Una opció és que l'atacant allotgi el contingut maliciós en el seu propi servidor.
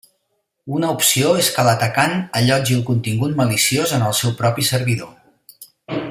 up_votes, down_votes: 3, 0